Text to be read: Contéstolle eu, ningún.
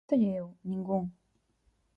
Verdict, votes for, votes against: rejected, 0, 4